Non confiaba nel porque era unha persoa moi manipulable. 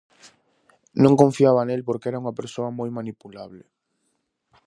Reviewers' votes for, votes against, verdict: 2, 0, accepted